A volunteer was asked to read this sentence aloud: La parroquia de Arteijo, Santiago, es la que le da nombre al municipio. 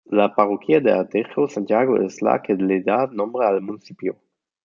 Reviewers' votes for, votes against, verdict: 0, 2, rejected